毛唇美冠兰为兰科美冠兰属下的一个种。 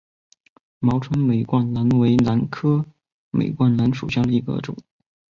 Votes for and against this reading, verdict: 4, 2, accepted